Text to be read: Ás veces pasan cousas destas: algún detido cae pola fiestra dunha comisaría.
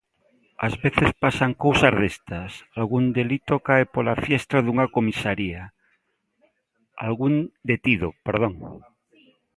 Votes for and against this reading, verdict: 0, 2, rejected